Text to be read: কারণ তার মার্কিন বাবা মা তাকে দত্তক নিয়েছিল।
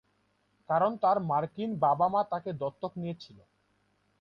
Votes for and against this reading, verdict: 2, 0, accepted